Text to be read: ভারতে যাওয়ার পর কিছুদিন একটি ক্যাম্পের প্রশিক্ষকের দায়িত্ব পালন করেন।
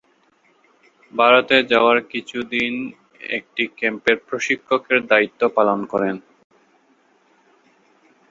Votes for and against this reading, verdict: 0, 5, rejected